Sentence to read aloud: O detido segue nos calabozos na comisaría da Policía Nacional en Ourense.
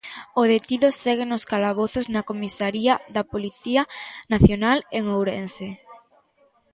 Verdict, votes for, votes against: rejected, 1, 2